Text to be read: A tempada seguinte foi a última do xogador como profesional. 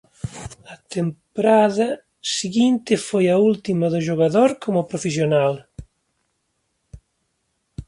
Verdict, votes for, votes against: rejected, 0, 2